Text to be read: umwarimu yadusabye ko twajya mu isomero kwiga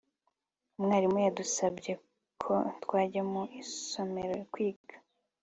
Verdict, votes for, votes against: accepted, 2, 0